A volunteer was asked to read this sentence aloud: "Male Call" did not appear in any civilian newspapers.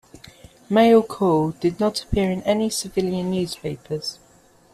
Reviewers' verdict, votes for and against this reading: accepted, 2, 0